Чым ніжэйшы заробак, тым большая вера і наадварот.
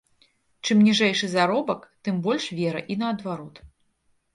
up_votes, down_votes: 0, 2